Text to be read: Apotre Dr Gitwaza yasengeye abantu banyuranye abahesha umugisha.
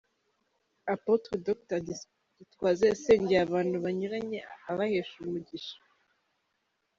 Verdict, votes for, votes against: rejected, 1, 2